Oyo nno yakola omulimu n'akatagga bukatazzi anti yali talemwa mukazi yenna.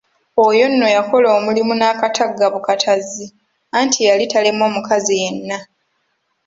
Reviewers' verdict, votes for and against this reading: accepted, 3, 0